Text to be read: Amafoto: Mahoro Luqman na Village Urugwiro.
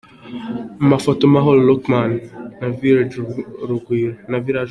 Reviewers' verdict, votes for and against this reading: rejected, 1, 2